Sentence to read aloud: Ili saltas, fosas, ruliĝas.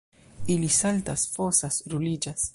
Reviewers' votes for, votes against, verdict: 2, 0, accepted